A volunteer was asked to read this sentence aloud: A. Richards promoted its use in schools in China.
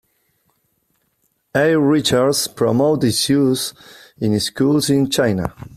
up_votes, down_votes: 2, 0